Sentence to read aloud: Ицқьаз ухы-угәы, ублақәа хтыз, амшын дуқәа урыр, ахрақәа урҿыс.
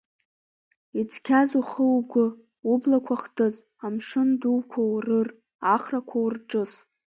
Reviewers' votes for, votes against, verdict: 2, 1, accepted